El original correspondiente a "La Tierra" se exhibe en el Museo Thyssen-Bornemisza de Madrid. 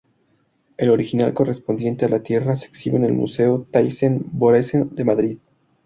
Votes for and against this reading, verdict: 2, 0, accepted